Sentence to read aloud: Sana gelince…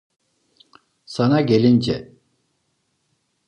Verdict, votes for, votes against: accepted, 2, 0